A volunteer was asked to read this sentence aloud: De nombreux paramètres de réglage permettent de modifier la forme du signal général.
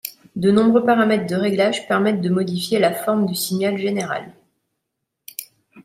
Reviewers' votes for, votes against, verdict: 2, 0, accepted